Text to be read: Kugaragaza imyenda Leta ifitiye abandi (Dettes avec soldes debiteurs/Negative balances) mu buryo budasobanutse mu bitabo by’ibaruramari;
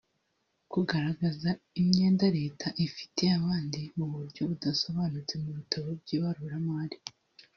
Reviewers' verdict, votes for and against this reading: rejected, 0, 2